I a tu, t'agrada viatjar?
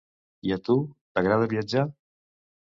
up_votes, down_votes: 2, 0